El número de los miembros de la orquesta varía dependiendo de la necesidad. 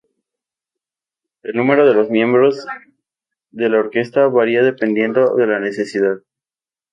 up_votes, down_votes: 2, 0